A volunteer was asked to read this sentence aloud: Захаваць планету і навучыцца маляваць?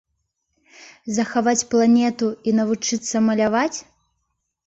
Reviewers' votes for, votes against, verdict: 2, 0, accepted